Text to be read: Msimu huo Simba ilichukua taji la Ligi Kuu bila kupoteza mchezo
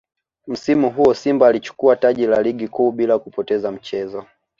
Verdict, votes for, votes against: rejected, 1, 2